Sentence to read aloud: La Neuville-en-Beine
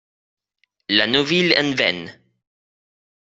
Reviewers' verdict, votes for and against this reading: rejected, 0, 2